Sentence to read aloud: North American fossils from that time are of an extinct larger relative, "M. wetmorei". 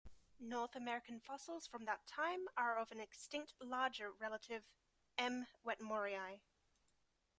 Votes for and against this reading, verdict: 1, 2, rejected